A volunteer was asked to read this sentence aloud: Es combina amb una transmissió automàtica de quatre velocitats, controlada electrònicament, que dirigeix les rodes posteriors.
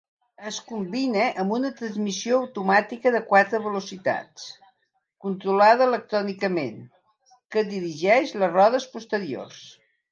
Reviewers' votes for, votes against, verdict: 2, 0, accepted